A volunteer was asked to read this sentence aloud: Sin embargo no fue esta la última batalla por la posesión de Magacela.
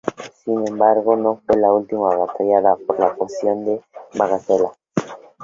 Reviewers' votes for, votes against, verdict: 0, 2, rejected